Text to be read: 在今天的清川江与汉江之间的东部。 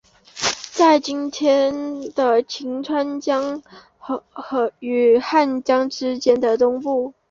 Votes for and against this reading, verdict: 1, 2, rejected